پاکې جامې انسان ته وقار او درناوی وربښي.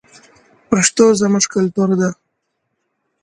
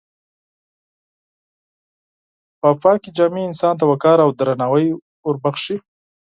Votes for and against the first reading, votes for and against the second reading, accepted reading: 0, 2, 6, 2, second